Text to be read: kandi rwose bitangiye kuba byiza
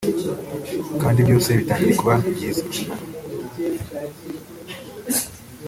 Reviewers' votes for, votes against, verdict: 0, 2, rejected